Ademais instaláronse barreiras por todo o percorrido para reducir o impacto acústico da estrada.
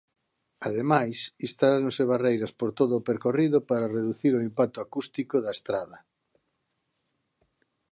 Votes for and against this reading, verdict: 2, 1, accepted